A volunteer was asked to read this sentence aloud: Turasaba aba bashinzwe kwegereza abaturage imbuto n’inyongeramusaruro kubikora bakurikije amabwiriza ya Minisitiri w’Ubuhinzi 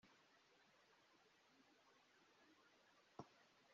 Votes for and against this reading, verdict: 0, 2, rejected